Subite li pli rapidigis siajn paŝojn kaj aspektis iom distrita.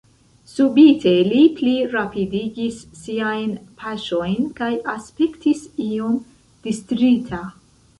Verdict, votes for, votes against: rejected, 1, 2